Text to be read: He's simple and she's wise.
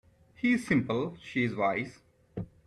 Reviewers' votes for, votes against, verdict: 0, 2, rejected